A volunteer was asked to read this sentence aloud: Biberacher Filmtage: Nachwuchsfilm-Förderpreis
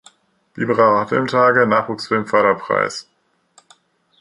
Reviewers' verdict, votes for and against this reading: rejected, 1, 2